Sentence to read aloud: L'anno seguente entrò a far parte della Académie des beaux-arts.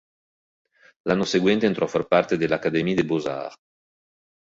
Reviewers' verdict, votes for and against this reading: accepted, 2, 1